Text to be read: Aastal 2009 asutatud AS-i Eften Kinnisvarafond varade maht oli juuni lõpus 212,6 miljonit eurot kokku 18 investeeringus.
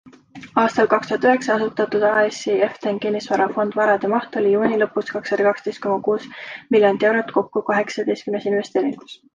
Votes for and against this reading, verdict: 0, 2, rejected